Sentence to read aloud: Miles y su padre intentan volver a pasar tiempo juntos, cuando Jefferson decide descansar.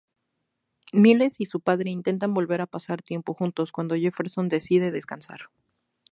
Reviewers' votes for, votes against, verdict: 2, 0, accepted